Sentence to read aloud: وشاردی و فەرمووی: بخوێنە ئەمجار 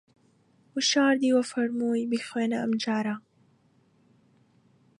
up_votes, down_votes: 0, 2